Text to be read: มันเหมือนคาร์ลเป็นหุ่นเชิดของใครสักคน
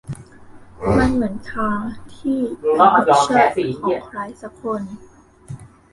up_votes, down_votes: 0, 2